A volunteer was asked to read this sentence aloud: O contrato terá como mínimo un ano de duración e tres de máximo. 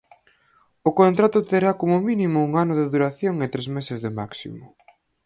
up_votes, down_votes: 0, 4